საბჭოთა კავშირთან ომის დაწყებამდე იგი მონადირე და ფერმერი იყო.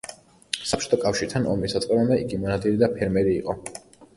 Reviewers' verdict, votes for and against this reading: rejected, 1, 2